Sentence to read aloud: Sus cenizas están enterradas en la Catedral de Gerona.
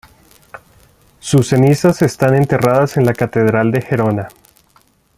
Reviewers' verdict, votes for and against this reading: accepted, 2, 0